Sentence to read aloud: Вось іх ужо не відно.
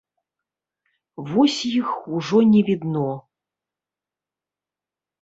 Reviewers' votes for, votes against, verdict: 2, 0, accepted